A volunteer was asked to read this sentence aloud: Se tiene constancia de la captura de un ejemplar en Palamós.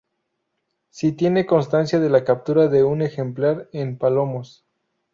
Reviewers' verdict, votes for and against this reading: rejected, 2, 2